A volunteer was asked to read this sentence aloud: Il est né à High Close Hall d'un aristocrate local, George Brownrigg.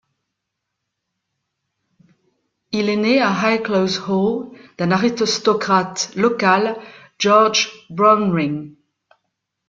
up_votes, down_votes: 1, 2